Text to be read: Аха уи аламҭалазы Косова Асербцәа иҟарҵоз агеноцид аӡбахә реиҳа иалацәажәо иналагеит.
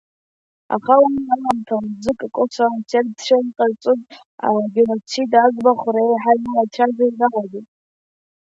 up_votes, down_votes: 1, 2